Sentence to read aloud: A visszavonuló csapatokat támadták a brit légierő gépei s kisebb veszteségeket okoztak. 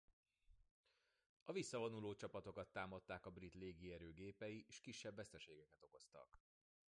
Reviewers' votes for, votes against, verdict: 2, 1, accepted